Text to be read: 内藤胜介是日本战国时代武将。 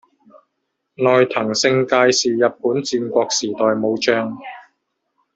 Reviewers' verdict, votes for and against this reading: rejected, 0, 2